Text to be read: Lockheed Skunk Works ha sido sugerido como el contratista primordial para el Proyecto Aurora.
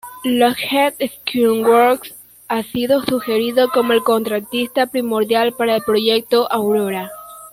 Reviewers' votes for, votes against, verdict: 1, 2, rejected